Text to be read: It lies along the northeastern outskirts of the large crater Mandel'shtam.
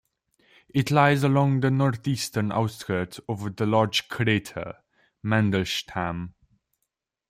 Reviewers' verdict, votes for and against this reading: rejected, 0, 2